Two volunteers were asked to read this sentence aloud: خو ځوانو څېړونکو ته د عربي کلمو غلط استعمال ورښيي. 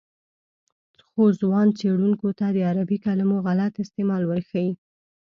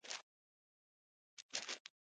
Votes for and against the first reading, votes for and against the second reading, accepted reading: 2, 0, 1, 2, first